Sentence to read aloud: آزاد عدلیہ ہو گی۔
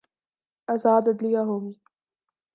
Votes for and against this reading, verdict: 2, 0, accepted